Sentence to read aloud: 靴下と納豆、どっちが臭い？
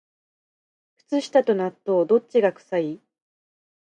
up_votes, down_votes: 2, 1